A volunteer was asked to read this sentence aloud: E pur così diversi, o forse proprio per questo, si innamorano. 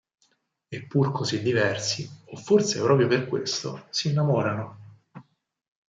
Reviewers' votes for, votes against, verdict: 6, 0, accepted